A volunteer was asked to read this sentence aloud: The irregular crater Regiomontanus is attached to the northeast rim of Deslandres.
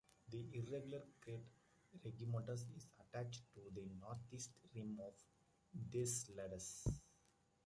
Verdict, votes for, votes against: rejected, 0, 2